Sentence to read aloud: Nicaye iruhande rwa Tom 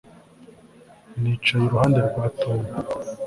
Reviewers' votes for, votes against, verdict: 3, 0, accepted